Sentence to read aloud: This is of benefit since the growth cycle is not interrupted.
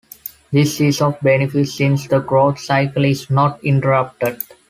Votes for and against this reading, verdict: 2, 0, accepted